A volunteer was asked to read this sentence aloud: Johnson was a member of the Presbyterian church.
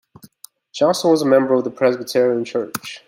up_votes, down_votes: 2, 0